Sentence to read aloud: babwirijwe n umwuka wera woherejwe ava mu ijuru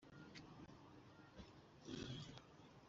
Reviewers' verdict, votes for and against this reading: rejected, 0, 2